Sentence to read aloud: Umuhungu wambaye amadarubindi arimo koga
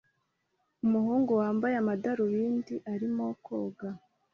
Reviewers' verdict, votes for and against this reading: accepted, 3, 0